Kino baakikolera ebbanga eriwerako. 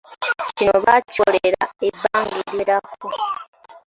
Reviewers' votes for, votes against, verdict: 1, 2, rejected